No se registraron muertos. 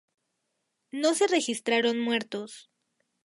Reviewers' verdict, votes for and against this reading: accepted, 2, 0